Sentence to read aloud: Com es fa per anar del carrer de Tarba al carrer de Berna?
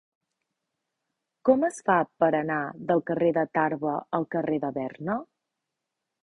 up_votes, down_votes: 4, 0